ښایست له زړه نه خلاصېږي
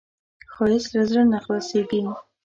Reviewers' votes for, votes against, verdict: 2, 0, accepted